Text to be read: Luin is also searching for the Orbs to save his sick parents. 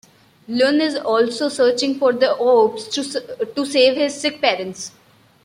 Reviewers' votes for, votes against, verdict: 2, 1, accepted